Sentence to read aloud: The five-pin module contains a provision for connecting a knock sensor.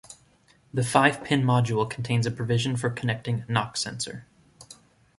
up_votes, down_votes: 1, 2